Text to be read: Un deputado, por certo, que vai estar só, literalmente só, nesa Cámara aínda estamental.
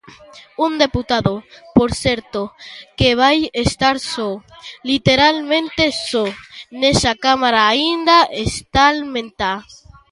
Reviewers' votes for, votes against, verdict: 1, 2, rejected